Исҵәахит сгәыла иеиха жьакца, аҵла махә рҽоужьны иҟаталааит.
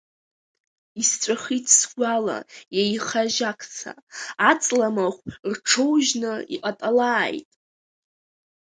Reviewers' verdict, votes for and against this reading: rejected, 0, 2